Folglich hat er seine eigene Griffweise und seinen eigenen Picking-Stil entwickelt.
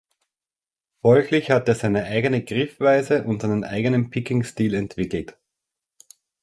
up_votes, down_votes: 3, 0